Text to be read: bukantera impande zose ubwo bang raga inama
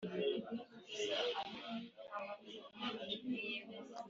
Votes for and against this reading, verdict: 0, 2, rejected